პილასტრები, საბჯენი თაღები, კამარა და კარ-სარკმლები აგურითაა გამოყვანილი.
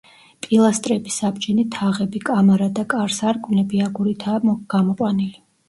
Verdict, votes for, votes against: rejected, 1, 2